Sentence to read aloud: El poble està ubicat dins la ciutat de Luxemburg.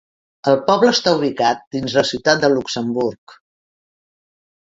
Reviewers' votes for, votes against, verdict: 4, 0, accepted